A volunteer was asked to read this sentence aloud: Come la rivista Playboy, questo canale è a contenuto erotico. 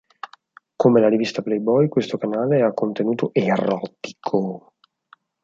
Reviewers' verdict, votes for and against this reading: rejected, 0, 4